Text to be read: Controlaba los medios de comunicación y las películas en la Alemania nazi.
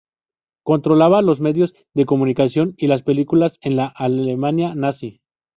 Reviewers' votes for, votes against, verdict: 0, 2, rejected